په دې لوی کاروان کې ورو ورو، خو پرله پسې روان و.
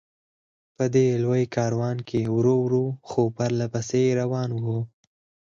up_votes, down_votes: 4, 0